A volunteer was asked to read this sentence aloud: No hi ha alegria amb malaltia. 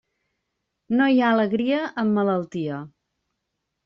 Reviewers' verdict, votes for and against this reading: accepted, 3, 0